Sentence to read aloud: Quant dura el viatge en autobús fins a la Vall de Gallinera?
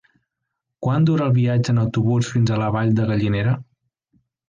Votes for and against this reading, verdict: 3, 0, accepted